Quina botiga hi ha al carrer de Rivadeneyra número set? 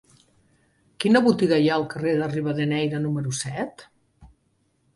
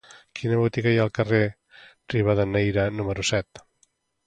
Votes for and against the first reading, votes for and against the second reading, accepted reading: 2, 0, 0, 2, first